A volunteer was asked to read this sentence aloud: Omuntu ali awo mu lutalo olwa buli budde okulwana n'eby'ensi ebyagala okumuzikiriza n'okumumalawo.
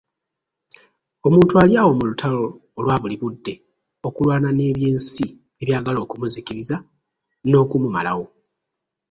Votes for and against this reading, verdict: 1, 2, rejected